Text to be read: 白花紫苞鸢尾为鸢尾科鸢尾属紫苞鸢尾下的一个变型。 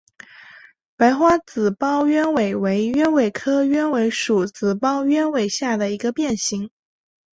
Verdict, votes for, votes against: accepted, 2, 0